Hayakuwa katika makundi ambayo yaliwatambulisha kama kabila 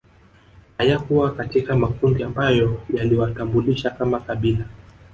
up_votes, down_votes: 1, 2